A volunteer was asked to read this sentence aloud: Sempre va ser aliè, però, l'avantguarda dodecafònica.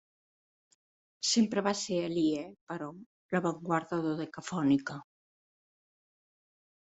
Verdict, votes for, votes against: accepted, 2, 0